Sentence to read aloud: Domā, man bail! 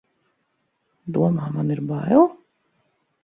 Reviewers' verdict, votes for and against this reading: rejected, 0, 2